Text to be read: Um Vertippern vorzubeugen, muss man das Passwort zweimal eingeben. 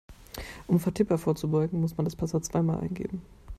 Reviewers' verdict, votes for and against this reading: rejected, 1, 2